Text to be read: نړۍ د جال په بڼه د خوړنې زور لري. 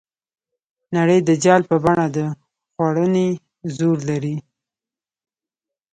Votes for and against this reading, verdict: 2, 1, accepted